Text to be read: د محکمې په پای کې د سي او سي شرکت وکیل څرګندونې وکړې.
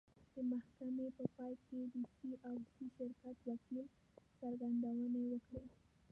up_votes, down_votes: 1, 2